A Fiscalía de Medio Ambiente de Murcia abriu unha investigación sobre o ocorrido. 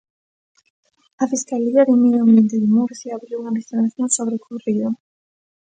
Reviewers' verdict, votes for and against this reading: rejected, 1, 2